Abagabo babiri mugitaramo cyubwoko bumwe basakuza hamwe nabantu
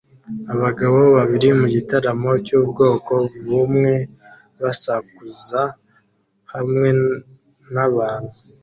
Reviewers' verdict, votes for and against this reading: accepted, 2, 0